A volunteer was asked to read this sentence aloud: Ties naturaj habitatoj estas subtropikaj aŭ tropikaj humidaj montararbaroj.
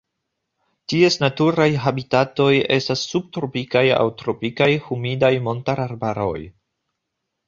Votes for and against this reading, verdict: 2, 0, accepted